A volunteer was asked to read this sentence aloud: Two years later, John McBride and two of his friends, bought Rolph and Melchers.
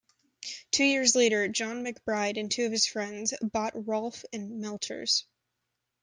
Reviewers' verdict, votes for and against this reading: accepted, 2, 0